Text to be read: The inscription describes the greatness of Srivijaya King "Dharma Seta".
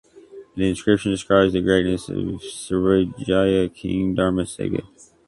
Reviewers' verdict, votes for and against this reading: rejected, 0, 2